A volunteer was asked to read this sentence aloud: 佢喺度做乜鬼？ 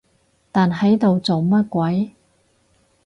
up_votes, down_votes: 0, 4